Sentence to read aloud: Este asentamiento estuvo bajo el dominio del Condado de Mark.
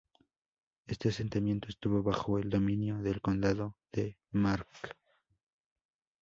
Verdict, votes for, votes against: accepted, 2, 0